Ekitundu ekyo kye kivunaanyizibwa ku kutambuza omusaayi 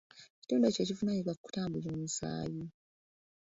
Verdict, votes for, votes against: rejected, 0, 2